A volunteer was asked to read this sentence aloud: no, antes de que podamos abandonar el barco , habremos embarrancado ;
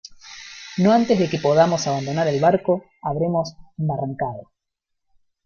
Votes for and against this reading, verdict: 0, 2, rejected